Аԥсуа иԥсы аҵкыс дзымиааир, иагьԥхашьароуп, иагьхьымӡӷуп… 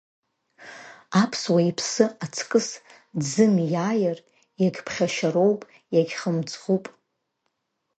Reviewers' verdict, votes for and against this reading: accepted, 3, 0